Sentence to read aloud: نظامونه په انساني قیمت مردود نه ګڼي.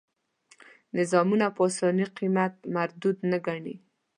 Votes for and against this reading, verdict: 1, 2, rejected